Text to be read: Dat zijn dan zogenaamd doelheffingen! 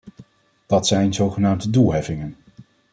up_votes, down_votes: 1, 2